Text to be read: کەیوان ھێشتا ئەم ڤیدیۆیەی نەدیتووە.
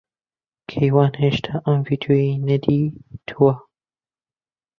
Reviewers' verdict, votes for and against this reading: accepted, 2, 0